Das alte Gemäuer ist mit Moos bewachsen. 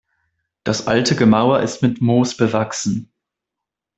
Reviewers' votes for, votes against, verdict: 0, 2, rejected